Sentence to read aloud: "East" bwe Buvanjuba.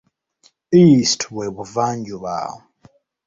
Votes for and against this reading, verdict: 2, 0, accepted